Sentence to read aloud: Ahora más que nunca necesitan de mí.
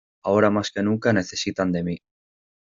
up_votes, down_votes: 2, 0